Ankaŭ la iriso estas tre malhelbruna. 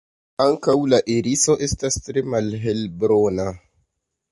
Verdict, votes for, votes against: accepted, 2, 0